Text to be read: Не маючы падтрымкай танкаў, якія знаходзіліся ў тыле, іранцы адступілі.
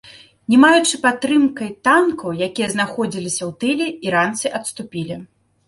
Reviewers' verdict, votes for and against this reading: accepted, 2, 0